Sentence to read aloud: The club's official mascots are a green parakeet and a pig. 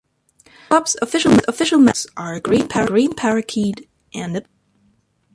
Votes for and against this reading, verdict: 0, 2, rejected